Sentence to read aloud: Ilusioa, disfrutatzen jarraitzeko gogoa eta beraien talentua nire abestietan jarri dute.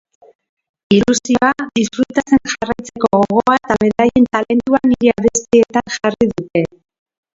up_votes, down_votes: 1, 2